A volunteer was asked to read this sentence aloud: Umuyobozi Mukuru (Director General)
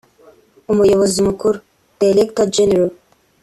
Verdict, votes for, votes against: accepted, 2, 0